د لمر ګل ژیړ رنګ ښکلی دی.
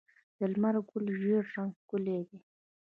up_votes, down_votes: 0, 2